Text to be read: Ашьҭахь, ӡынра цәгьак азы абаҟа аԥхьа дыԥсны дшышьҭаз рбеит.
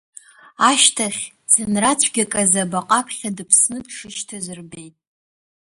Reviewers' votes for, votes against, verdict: 2, 0, accepted